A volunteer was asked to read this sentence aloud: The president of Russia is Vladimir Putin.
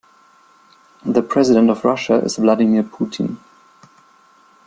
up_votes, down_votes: 1, 2